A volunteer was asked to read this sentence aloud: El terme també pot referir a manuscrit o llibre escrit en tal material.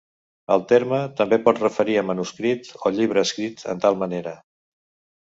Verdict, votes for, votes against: accepted, 2, 0